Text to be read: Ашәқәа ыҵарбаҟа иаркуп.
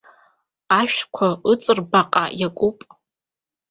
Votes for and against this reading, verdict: 2, 0, accepted